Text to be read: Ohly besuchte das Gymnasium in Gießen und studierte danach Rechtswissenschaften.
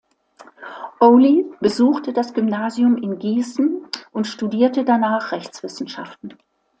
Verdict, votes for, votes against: accepted, 2, 0